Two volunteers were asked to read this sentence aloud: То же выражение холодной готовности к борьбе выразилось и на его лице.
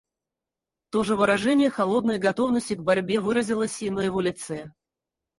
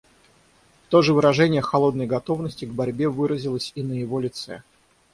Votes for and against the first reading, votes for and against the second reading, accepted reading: 0, 2, 6, 0, second